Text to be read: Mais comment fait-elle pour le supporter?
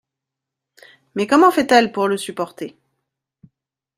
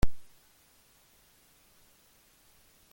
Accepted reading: first